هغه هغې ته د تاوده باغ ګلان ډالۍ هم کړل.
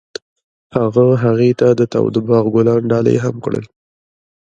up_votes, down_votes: 2, 0